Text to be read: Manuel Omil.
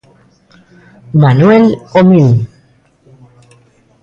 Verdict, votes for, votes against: rejected, 0, 2